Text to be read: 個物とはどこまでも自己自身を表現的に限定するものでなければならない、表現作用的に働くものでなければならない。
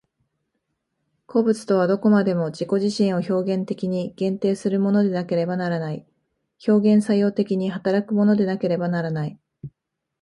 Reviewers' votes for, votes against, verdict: 2, 0, accepted